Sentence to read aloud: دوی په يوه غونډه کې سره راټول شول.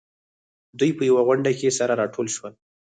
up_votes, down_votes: 2, 4